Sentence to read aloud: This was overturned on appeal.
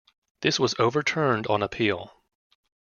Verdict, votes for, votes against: rejected, 1, 2